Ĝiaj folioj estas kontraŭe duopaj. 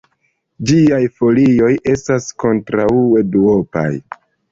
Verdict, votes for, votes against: accepted, 2, 0